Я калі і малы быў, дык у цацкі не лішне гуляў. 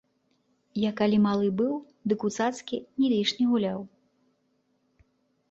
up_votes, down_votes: 0, 2